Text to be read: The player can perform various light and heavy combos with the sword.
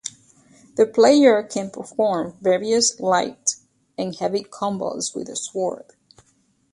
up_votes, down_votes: 2, 0